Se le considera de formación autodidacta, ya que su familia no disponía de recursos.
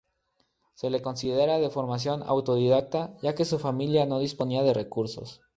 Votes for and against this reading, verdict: 2, 0, accepted